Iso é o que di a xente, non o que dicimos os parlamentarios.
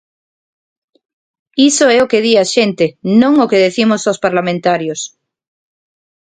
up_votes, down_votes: 1, 2